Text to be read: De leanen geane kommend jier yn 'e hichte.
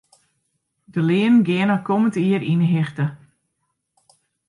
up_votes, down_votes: 2, 0